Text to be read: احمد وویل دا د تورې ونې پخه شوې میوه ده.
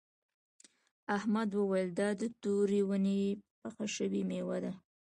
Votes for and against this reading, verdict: 2, 0, accepted